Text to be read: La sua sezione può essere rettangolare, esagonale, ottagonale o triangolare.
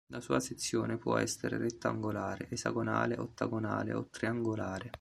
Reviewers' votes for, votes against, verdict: 2, 0, accepted